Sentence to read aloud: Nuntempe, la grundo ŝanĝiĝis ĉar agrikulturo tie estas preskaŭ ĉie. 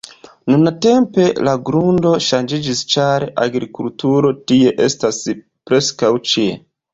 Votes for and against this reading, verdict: 2, 0, accepted